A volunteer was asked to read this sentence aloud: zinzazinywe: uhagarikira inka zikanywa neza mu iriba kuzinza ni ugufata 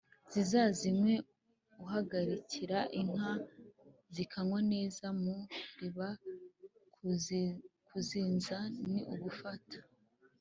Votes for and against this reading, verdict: 1, 2, rejected